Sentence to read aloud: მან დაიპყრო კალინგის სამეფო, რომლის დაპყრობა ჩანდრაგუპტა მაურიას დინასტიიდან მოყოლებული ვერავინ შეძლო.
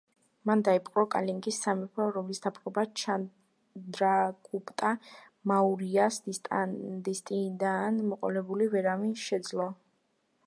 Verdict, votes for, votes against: rejected, 0, 2